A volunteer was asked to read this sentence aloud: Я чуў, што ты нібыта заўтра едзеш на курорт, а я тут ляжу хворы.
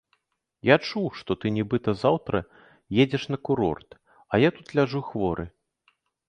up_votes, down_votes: 2, 0